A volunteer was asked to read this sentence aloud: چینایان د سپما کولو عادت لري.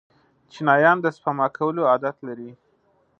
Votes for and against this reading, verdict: 3, 0, accepted